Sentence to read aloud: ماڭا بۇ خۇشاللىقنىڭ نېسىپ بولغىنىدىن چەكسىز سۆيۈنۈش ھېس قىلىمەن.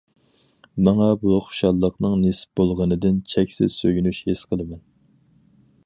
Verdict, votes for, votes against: accepted, 4, 0